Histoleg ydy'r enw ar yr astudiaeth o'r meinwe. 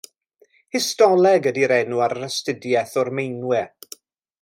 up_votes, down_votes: 2, 0